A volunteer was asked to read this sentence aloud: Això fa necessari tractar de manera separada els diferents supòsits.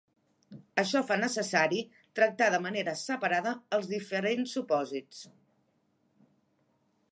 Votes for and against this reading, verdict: 2, 0, accepted